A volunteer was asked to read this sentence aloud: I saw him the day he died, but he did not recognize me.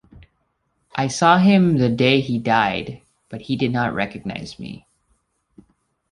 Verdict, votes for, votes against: accepted, 2, 0